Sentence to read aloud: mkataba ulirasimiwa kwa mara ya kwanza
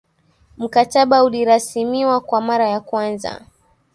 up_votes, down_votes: 2, 0